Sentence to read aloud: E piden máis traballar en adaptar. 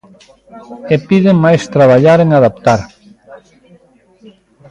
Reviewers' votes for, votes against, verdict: 1, 2, rejected